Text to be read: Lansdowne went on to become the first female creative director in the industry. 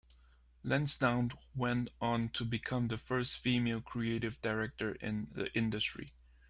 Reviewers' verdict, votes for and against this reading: accepted, 2, 0